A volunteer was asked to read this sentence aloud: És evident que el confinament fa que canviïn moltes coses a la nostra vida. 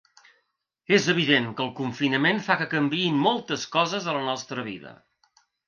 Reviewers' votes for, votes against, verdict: 2, 0, accepted